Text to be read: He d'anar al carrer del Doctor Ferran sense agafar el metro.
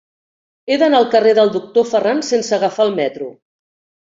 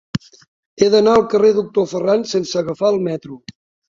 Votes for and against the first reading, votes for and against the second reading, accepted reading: 3, 0, 0, 2, first